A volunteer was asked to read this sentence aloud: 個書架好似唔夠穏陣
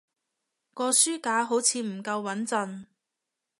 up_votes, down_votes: 2, 0